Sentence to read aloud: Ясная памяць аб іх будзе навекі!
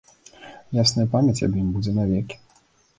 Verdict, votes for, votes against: rejected, 0, 2